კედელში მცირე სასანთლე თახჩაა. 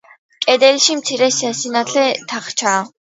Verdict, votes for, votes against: accepted, 2, 0